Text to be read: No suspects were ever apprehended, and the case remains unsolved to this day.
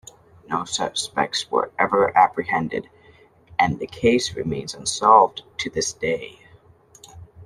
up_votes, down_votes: 2, 0